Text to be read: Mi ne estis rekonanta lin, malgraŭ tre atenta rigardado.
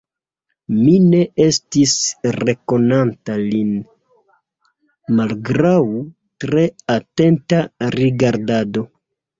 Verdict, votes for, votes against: accepted, 2, 0